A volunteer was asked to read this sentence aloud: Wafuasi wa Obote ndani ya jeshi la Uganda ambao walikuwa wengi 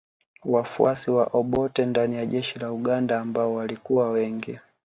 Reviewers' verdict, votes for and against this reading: accepted, 2, 0